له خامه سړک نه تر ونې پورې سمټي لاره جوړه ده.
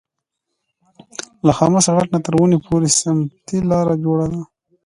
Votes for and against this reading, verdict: 1, 2, rejected